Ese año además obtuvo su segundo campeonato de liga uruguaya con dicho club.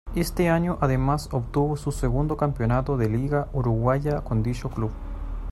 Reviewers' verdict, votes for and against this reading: rejected, 1, 2